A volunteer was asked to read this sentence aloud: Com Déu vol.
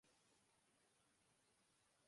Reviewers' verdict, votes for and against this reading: rejected, 0, 2